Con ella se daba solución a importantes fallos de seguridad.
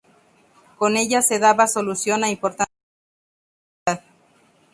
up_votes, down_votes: 0, 2